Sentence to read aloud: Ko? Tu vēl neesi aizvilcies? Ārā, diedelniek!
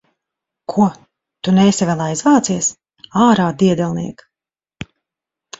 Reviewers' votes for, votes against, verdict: 0, 3, rejected